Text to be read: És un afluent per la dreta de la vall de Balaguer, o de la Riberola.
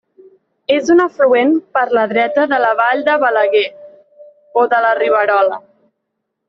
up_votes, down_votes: 1, 2